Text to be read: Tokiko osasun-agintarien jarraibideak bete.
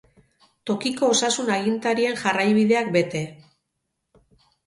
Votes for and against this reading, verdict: 4, 0, accepted